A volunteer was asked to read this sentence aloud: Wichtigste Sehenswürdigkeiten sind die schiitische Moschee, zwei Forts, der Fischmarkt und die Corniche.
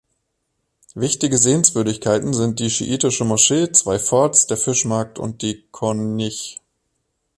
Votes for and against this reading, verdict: 0, 2, rejected